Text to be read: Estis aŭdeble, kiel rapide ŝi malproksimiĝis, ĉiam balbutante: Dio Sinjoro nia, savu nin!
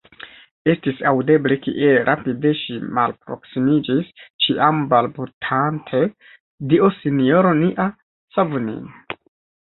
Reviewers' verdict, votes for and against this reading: rejected, 1, 2